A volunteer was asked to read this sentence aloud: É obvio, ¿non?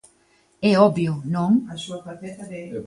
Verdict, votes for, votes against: rejected, 1, 2